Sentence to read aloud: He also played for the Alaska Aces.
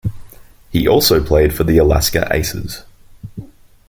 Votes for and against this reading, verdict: 2, 0, accepted